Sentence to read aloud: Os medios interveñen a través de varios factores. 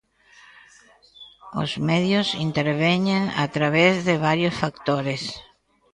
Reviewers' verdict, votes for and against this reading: accepted, 2, 0